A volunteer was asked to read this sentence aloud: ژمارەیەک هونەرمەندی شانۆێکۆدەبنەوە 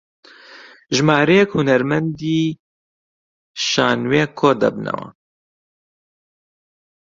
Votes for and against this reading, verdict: 0, 2, rejected